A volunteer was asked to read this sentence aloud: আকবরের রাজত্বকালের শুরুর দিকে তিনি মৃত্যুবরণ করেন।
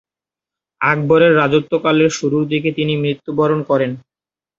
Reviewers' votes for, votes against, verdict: 2, 1, accepted